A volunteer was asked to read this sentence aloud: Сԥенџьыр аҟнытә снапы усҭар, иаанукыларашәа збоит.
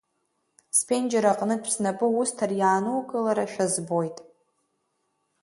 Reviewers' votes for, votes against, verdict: 3, 2, accepted